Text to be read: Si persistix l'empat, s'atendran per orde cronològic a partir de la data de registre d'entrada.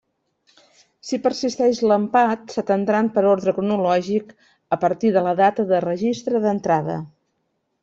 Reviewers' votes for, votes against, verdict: 2, 0, accepted